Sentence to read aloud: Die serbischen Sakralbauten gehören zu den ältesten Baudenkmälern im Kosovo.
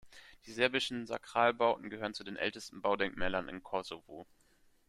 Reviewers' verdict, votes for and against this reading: accepted, 2, 0